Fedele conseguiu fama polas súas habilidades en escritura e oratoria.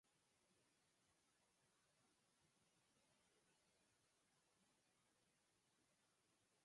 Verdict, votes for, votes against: rejected, 0, 4